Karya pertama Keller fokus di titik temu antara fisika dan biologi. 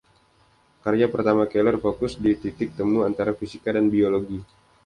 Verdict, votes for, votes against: accepted, 2, 0